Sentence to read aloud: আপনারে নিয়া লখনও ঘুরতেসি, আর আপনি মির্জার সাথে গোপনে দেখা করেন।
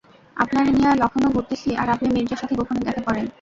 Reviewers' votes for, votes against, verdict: 0, 2, rejected